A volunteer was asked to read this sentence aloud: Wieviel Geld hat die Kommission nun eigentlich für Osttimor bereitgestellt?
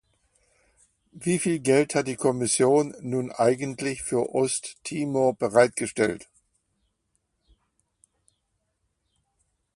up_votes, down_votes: 2, 0